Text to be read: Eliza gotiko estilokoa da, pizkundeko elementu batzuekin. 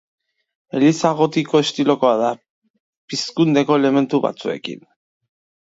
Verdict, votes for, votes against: accepted, 4, 1